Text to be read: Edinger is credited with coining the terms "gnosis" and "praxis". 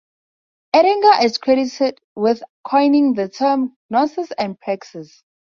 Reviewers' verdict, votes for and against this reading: rejected, 0, 2